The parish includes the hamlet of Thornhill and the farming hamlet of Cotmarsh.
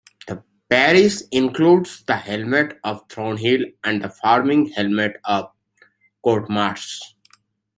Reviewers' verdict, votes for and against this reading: accepted, 2, 0